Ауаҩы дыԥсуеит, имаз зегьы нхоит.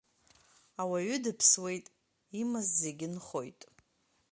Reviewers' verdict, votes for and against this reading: accepted, 3, 0